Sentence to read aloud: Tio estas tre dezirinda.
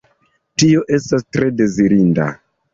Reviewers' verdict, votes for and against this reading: accepted, 2, 0